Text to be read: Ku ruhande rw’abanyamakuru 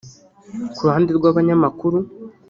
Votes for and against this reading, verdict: 1, 2, rejected